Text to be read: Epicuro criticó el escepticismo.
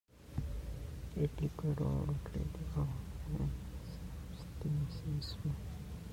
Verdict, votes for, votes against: rejected, 0, 2